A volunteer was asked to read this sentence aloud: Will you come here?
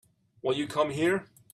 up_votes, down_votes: 3, 0